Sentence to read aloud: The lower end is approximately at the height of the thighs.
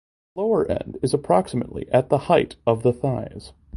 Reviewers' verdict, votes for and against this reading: accepted, 2, 1